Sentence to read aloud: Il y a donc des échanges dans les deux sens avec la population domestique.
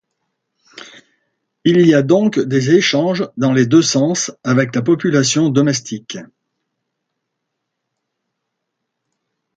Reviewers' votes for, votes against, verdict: 2, 0, accepted